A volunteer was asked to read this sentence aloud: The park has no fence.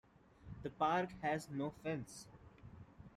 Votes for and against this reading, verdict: 2, 0, accepted